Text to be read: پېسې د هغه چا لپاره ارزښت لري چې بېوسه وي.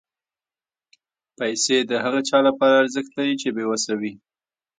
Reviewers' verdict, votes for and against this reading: rejected, 0, 2